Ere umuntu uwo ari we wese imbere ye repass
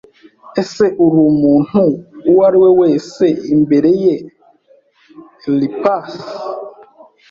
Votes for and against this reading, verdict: 1, 2, rejected